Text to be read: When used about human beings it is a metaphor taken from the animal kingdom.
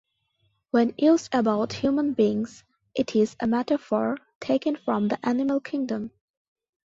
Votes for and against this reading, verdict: 2, 1, accepted